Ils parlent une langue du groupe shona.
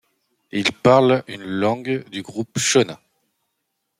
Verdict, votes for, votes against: accepted, 3, 0